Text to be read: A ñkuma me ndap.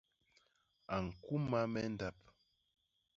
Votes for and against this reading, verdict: 0, 2, rejected